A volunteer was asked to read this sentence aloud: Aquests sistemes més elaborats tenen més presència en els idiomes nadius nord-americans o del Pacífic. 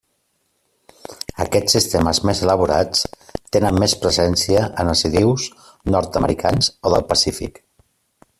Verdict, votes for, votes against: rejected, 0, 2